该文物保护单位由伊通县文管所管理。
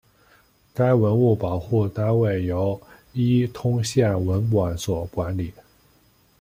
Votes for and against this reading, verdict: 2, 0, accepted